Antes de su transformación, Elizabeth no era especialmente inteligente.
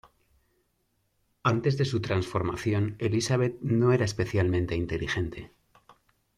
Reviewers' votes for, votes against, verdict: 2, 0, accepted